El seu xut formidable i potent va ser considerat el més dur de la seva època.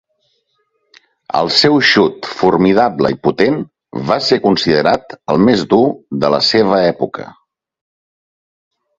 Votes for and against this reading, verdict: 2, 0, accepted